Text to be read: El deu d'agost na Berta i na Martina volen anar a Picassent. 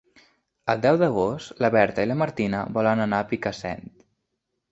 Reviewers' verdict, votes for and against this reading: accepted, 2, 1